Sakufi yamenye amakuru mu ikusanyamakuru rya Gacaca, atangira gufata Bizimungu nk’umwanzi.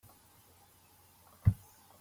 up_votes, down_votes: 0, 2